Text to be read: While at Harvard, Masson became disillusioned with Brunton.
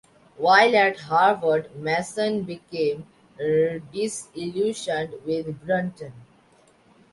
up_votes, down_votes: 1, 2